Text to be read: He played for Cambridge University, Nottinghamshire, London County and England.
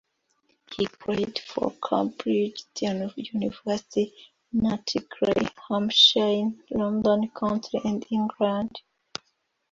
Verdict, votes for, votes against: rejected, 0, 2